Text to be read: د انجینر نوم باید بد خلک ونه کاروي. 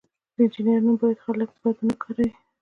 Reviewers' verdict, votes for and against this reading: accepted, 2, 0